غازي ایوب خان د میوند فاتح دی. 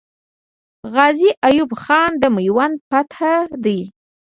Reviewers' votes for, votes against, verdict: 1, 2, rejected